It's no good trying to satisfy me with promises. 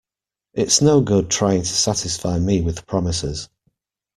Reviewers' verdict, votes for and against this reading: accepted, 2, 0